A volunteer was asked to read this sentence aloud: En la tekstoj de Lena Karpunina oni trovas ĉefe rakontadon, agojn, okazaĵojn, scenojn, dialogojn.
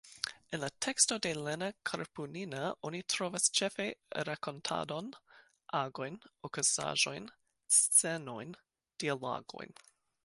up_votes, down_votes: 2, 0